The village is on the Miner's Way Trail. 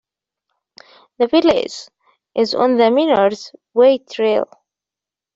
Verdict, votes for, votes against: accepted, 2, 0